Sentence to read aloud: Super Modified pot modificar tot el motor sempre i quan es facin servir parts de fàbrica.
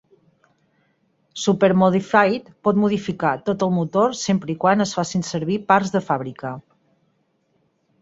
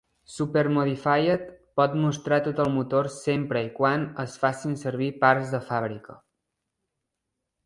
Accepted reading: first